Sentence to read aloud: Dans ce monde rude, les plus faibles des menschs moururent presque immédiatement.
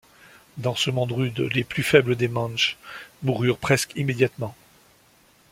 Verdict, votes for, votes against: rejected, 1, 2